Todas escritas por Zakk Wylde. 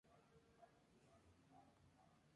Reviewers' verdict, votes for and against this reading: rejected, 0, 4